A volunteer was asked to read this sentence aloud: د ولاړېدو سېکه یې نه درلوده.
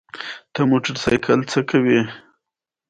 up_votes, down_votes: 2, 0